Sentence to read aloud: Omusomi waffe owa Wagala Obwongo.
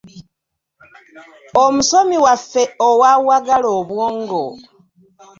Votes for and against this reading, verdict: 2, 0, accepted